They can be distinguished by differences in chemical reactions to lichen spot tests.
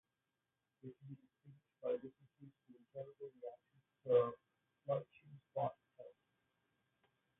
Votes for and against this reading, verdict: 0, 2, rejected